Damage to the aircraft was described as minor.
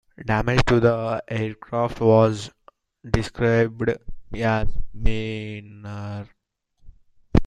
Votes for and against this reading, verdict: 0, 2, rejected